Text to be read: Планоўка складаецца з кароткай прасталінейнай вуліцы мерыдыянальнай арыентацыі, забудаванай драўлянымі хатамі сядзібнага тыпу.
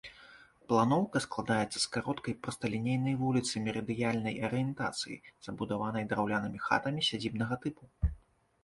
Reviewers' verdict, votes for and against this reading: rejected, 0, 2